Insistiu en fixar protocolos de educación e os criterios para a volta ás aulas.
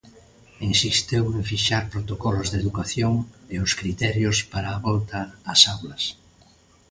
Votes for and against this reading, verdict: 1, 2, rejected